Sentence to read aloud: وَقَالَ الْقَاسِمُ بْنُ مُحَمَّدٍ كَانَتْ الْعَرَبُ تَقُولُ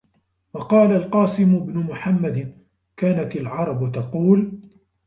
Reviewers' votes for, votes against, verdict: 1, 2, rejected